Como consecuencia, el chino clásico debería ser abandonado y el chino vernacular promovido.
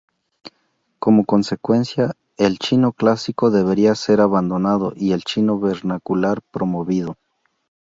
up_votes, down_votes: 2, 0